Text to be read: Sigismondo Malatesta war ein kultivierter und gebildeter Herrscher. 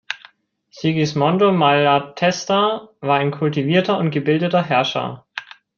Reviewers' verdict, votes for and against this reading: accepted, 3, 0